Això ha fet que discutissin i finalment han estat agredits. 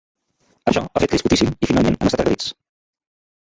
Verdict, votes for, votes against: rejected, 0, 2